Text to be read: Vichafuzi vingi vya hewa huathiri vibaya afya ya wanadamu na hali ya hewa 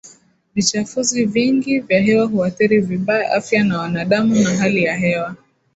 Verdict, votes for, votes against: rejected, 1, 2